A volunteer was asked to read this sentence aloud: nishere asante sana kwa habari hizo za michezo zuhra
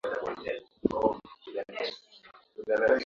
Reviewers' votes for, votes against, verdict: 0, 2, rejected